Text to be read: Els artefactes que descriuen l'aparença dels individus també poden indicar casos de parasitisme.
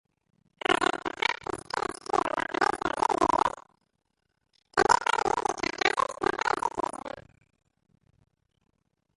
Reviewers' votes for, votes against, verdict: 0, 2, rejected